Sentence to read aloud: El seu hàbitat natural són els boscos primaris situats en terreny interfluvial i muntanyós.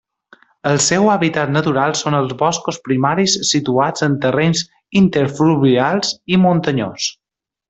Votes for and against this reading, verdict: 1, 2, rejected